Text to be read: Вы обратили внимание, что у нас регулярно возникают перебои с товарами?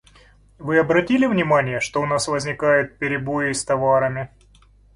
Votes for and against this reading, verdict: 2, 1, accepted